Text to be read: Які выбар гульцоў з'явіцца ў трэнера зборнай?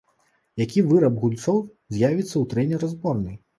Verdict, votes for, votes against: rejected, 0, 2